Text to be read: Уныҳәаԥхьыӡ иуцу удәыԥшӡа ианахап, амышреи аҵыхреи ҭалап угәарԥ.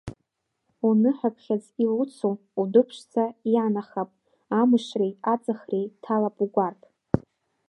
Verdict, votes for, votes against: rejected, 1, 2